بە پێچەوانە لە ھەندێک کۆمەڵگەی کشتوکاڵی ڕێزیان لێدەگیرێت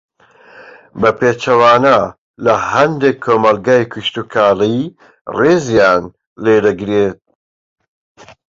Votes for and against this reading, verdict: 1, 2, rejected